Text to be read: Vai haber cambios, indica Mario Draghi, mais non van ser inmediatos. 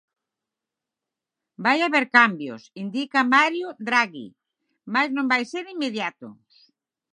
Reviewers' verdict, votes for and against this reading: accepted, 6, 0